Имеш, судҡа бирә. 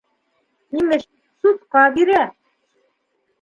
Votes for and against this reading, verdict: 2, 0, accepted